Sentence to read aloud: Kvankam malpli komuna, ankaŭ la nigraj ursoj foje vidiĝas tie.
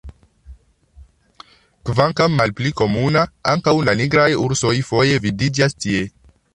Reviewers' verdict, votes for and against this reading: rejected, 1, 2